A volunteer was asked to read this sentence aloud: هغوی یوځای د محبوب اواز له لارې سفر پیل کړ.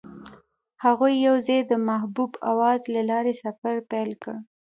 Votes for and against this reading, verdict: 2, 0, accepted